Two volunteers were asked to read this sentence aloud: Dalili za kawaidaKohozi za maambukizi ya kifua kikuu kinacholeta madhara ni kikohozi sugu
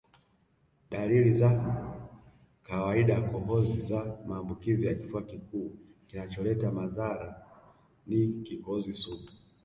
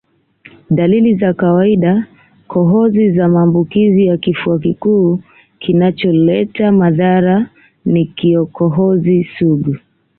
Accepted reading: second